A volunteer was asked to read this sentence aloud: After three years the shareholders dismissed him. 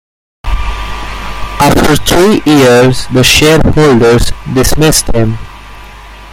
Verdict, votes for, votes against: accepted, 2, 0